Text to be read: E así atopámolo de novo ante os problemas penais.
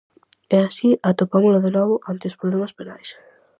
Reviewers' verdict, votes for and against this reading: accepted, 4, 0